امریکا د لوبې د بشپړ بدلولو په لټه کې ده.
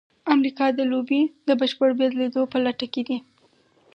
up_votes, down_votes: 2, 4